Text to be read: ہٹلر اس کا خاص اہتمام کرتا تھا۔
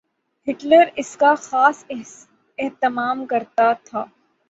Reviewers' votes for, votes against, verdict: 0, 3, rejected